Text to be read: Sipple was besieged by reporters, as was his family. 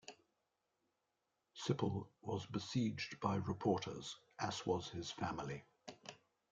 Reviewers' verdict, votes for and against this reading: accepted, 2, 0